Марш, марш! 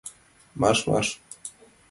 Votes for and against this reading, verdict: 2, 0, accepted